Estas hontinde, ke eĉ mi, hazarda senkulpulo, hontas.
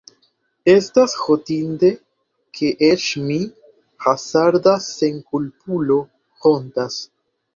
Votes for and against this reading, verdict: 1, 2, rejected